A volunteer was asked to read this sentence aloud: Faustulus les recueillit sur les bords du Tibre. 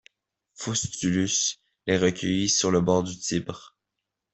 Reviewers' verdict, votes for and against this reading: accepted, 2, 0